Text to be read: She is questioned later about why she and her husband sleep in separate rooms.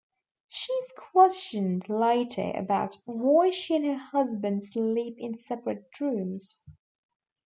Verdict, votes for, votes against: accepted, 2, 0